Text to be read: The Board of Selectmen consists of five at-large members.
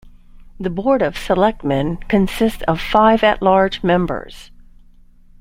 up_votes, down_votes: 2, 0